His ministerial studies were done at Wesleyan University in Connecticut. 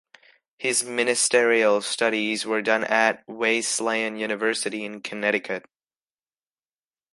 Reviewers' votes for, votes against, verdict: 1, 2, rejected